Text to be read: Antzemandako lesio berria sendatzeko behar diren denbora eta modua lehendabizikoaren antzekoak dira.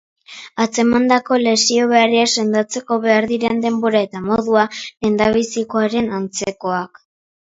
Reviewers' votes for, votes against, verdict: 0, 2, rejected